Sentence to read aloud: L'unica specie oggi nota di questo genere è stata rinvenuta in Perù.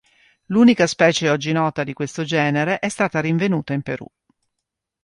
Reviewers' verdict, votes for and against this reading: accepted, 2, 0